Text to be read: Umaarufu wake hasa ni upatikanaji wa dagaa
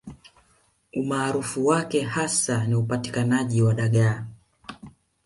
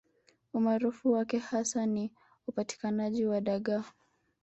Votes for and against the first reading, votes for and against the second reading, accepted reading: 2, 1, 1, 2, first